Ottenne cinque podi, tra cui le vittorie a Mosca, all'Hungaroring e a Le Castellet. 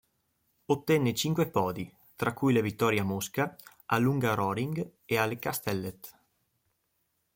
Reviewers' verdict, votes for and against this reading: accepted, 2, 0